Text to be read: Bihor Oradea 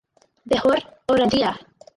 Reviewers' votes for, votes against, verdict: 0, 4, rejected